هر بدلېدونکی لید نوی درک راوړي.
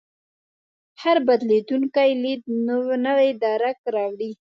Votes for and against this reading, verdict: 0, 2, rejected